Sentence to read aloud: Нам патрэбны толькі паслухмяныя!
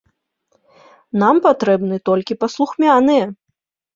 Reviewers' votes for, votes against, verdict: 2, 0, accepted